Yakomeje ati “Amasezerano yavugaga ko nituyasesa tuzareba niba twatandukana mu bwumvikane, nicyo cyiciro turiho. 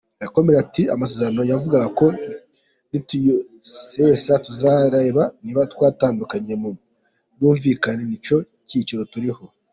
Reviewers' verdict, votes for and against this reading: rejected, 0, 2